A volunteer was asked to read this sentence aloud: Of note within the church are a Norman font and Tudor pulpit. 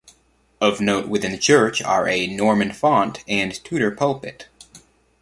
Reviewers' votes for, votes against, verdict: 2, 0, accepted